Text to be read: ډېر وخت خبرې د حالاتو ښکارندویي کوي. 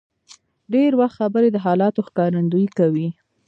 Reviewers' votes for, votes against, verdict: 2, 0, accepted